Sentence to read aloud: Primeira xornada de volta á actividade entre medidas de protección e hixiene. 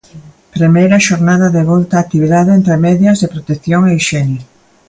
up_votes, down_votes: 0, 2